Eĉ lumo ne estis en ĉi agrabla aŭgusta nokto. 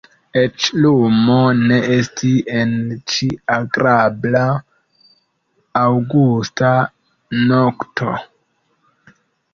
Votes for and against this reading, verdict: 2, 1, accepted